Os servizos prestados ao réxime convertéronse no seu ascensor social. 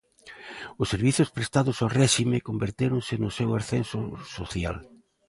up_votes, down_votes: 1, 2